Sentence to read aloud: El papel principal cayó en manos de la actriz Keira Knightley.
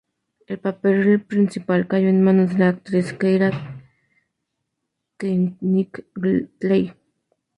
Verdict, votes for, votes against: rejected, 0, 2